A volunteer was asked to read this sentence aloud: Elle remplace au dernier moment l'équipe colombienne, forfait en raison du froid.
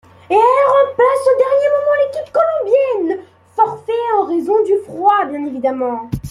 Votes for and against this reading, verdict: 1, 2, rejected